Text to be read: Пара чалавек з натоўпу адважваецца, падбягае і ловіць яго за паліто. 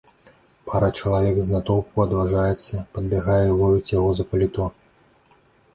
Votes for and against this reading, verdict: 0, 2, rejected